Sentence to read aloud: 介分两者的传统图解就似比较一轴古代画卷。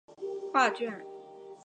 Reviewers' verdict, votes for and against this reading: rejected, 1, 2